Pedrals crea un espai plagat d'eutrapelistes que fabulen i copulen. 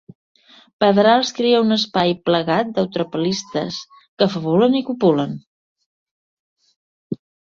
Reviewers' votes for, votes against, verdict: 2, 0, accepted